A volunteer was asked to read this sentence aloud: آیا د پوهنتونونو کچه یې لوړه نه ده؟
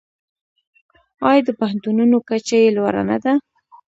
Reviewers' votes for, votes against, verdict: 1, 2, rejected